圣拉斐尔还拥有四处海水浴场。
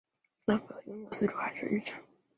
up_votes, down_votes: 0, 3